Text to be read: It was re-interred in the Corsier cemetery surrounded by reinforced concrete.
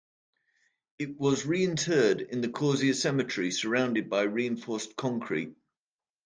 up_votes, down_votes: 2, 0